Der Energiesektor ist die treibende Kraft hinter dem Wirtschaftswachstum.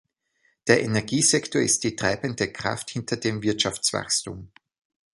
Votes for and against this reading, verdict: 2, 0, accepted